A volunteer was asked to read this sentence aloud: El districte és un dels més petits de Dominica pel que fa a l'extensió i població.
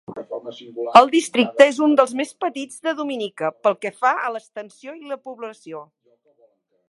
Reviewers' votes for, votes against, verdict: 0, 2, rejected